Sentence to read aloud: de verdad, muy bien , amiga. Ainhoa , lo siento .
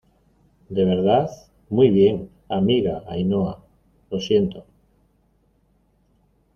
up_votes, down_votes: 1, 2